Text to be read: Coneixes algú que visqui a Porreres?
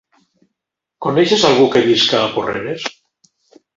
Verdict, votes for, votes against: rejected, 1, 2